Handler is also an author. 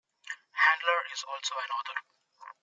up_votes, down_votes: 2, 1